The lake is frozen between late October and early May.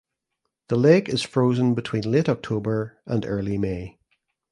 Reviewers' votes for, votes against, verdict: 2, 0, accepted